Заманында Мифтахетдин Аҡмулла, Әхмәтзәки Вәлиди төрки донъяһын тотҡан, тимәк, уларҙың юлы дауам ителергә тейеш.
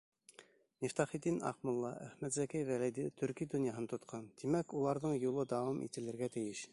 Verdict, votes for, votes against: rejected, 0, 2